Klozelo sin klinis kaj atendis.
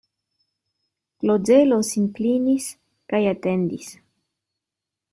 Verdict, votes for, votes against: rejected, 1, 2